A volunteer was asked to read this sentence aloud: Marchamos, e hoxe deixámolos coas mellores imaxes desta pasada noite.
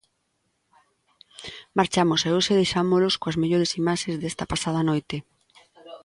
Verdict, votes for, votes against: accepted, 2, 0